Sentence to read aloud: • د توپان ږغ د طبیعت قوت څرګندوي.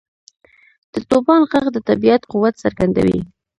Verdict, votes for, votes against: rejected, 0, 2